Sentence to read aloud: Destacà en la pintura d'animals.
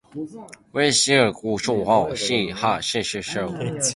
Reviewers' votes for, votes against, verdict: 0, 2, rejected